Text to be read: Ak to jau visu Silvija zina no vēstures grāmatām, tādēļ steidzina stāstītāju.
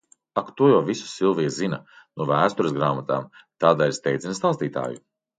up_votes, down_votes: 2, 0